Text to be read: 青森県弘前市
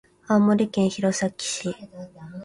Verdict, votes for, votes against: accepted, 2, 1